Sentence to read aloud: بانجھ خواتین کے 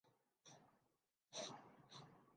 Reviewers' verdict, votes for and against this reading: rejected, 0, 2